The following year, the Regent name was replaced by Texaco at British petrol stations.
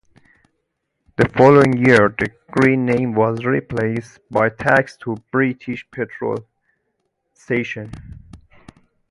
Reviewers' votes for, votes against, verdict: 0, 2, rejected